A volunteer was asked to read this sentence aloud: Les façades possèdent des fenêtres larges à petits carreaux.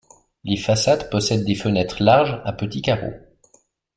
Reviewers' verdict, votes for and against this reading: accepted, 2, 0